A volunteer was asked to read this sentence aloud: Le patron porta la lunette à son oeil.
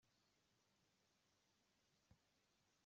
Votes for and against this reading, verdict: 0, 2, rejected